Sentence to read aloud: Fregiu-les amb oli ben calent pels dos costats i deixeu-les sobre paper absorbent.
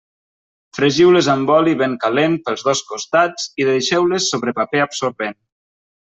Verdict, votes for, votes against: accepted, 3, 0